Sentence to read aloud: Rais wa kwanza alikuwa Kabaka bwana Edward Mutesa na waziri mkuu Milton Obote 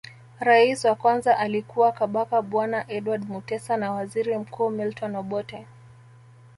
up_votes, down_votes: 1, 2